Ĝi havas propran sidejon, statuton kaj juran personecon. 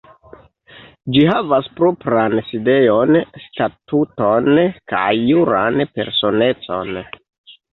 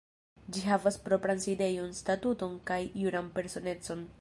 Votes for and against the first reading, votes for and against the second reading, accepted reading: 2, 1, 1, 2, first